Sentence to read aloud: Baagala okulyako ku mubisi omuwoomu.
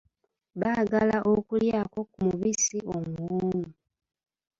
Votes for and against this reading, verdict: 1, 2, rejected